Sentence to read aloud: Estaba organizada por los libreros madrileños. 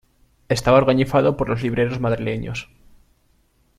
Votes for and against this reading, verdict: 0, 2, rejected